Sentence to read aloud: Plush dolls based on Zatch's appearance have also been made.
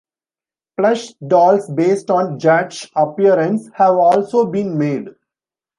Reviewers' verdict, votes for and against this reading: rejected, 1, 2